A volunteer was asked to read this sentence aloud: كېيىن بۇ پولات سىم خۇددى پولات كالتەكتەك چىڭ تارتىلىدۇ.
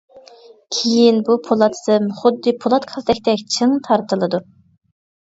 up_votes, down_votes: 2, 0